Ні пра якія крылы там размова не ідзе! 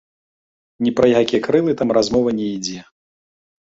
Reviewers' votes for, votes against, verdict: 2, 1, accepted